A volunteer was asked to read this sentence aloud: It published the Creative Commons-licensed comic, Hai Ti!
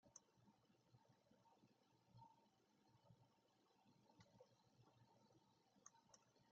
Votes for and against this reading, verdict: 1, 2, rejected